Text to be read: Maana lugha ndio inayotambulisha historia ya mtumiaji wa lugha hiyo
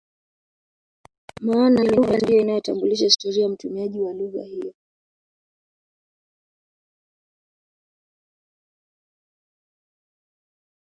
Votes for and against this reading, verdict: 0, 2, rejected